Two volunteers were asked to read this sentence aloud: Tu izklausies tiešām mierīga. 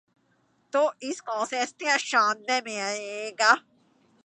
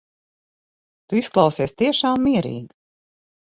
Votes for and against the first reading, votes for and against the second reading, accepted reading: 0, 3, 6, 0, second